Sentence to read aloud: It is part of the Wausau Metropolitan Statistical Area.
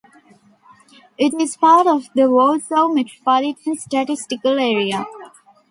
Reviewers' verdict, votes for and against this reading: rejected, 1, 2